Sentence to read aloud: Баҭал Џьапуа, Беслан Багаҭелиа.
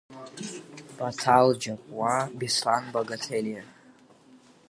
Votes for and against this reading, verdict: 3, 5, rejected